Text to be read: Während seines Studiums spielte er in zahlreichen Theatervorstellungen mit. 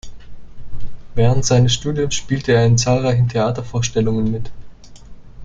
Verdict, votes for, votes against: accepted, 2, 0